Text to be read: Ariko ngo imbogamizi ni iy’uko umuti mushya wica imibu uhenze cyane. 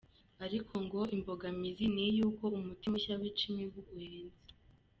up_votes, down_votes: 2, 0